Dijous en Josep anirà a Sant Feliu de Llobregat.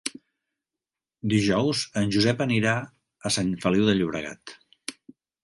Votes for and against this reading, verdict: 3, 0, accepted